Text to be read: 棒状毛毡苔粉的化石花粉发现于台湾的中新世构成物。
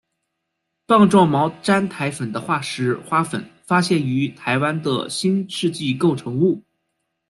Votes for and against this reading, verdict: 0, 2, rejected